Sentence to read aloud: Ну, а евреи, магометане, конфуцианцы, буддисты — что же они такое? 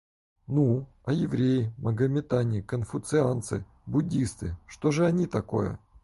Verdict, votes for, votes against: accepted, 4, 0